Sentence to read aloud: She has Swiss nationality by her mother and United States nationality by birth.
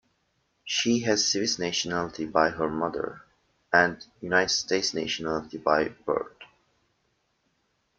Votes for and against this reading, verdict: 1, 2, rejected